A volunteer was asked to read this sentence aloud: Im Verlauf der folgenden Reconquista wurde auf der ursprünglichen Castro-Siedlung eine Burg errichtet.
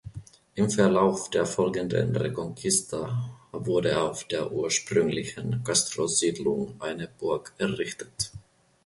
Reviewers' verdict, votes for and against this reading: accepted, 2, 0